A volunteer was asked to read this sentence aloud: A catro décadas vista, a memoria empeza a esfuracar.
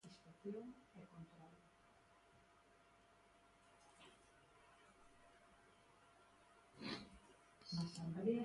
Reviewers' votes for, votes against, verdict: 0, 2, rejected